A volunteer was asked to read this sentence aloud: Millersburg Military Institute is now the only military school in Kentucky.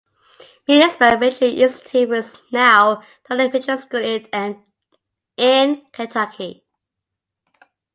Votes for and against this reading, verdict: 0, 2, rejected